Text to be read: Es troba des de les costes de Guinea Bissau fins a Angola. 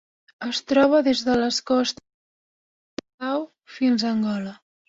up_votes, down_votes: 0, 2